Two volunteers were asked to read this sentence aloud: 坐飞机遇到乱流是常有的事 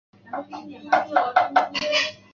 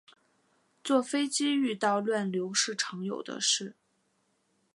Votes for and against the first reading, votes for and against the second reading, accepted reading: 1, 3, 2, 0, second